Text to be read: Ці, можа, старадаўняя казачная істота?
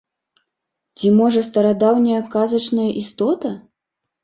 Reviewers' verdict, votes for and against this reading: accepted, 2, 0